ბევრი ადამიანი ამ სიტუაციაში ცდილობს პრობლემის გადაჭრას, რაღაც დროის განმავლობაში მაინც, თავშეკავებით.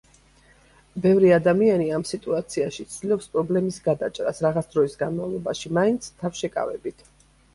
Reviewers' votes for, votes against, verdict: 2, 0, accepted